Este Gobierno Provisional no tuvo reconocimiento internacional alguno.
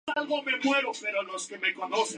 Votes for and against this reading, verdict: 0, 2, rejected